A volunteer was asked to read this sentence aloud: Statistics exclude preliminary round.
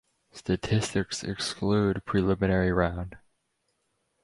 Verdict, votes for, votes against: accepted, 4, 0